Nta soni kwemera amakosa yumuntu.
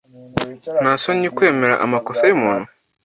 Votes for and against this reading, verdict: 2, 0, accepted